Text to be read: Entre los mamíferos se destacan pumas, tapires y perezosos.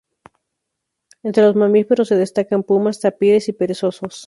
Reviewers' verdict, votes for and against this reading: accepted, 2, 0